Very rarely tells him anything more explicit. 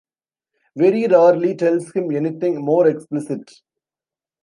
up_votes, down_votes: 1, 2